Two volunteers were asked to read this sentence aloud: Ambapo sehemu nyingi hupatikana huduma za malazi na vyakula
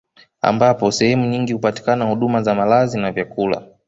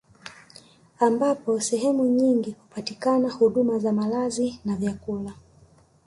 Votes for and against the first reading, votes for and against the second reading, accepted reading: 1, 2, 2, 0, second